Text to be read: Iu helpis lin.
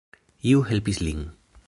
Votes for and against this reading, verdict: 1, 2, rejected